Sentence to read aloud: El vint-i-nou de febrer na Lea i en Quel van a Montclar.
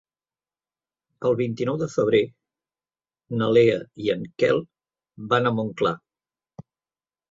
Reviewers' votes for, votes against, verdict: 4, 0, accepted